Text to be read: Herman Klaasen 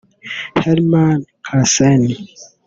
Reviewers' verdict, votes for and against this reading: rejected, 0, 2